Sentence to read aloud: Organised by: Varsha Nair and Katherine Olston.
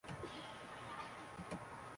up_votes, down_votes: 0, 2